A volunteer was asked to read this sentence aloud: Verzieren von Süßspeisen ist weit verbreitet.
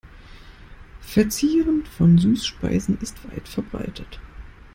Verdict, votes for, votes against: accepted, 2, 0